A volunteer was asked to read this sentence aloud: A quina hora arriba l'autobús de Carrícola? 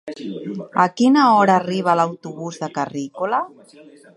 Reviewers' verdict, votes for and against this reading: rejected, 1, 2